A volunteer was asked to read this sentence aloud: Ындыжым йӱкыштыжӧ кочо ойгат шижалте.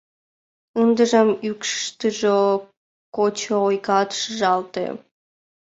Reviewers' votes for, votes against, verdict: 1, 2, rejected